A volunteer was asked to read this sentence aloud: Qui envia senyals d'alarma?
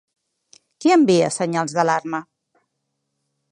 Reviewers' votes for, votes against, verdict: 3, 0, accepted